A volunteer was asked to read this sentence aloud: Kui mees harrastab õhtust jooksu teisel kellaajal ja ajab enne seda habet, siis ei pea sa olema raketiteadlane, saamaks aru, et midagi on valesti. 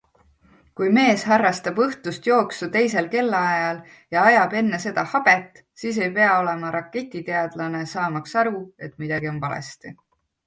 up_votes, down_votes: 2, 1